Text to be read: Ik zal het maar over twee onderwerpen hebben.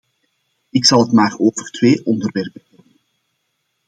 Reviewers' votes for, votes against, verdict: 0, 2, rejected